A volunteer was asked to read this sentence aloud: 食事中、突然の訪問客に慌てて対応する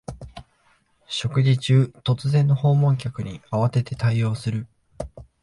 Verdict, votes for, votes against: accepted, 3, 0